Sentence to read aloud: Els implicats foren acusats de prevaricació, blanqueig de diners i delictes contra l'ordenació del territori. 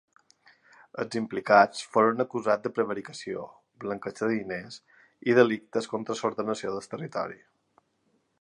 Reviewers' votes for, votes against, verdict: 1, 2, rejected